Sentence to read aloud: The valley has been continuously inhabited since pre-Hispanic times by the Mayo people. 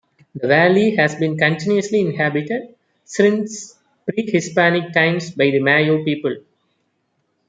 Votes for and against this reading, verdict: 2, 0, accepted